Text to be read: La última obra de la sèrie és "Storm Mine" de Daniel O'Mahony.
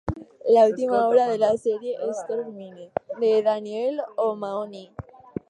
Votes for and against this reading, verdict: 0, 4, rejected